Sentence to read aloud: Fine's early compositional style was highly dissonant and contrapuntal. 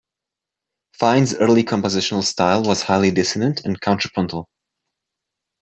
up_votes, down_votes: 2, 0